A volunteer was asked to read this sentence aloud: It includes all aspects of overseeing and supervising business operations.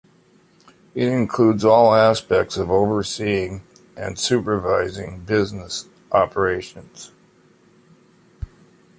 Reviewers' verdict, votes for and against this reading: accepted, 2, 0